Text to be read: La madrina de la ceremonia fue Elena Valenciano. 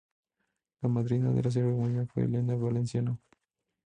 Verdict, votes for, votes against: accepted, 2, 0